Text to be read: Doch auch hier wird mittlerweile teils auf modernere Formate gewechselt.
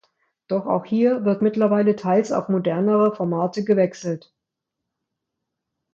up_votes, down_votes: 2, 0